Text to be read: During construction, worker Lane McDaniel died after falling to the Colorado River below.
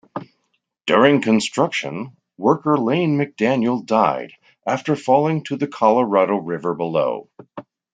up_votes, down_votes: 2, 0